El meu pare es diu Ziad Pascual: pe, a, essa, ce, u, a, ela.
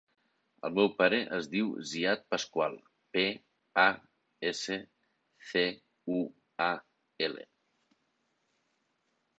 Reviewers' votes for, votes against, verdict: 1, 2, rejected